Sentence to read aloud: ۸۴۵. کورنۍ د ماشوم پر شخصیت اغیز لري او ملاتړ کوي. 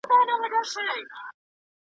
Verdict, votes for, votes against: rejected, 0, 2